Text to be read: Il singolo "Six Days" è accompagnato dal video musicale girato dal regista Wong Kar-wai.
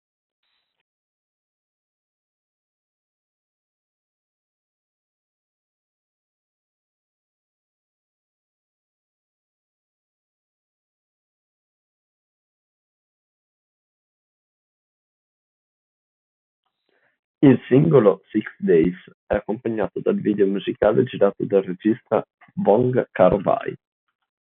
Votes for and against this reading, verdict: 0, 2, rejected